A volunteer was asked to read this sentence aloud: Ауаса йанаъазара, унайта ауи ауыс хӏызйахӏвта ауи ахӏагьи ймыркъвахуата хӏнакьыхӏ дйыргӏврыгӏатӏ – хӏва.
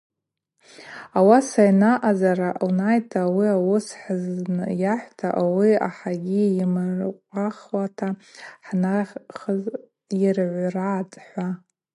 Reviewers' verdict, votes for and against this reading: rejected, 2, 2